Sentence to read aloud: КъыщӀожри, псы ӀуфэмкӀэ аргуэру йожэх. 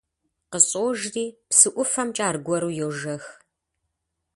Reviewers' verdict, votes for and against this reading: accepted, 2, 0